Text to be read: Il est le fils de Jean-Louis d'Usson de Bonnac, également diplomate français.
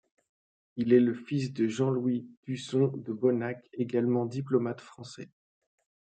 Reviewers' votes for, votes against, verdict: 2, 0, accepted